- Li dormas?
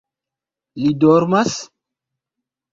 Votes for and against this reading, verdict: 1, 2, rejected